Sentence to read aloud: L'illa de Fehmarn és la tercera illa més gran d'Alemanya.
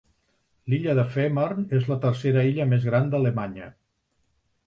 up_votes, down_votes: 4, 0